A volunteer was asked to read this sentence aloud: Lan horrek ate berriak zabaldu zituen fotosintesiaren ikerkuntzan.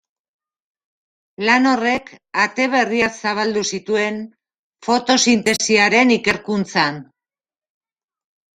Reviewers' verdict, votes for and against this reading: rejected, 0, 2